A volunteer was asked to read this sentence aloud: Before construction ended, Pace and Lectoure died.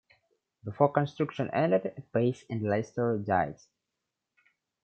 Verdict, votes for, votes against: rejected, 0, 2